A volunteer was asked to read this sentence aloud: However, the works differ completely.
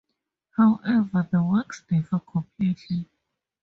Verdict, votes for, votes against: accepted, 2, 0